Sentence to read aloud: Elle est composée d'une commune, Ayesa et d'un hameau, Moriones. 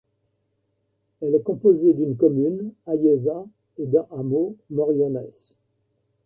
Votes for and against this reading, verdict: 2, 1, accepted